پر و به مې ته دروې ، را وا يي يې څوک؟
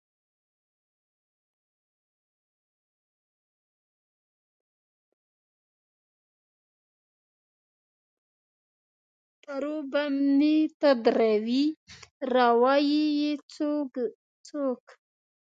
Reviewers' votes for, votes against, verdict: 1, 2, rejected